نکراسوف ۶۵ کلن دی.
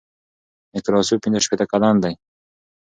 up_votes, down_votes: 0, 2